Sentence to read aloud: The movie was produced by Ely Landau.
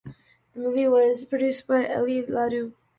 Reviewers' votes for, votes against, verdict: 2, 1, accepted